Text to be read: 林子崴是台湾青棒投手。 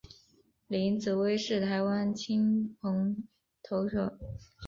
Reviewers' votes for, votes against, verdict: 5, 2, accepted